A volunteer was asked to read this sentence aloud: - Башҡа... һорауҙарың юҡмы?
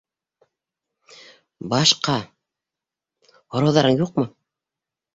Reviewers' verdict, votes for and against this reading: accepted, 2, 0